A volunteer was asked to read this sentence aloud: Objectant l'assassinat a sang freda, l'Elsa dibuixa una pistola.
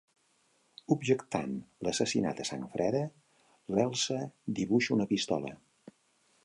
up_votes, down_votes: 3, 0